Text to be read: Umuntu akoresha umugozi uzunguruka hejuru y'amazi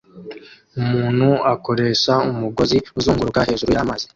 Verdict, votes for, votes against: rejected, 1, 2